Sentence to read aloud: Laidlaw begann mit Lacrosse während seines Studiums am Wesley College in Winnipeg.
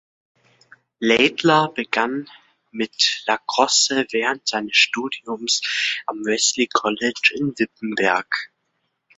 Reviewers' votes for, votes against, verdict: 1, 2, rejected